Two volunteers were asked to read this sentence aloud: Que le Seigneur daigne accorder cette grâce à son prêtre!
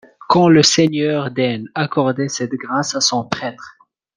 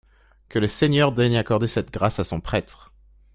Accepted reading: second